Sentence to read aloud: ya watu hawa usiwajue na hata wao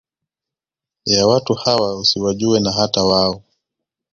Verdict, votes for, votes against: accepted, 2, 0